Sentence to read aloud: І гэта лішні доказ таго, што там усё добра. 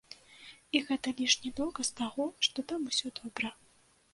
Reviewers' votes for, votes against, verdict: 2, 0, accepted